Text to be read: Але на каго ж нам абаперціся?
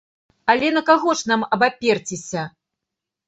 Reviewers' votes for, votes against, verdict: 2, 0, accepted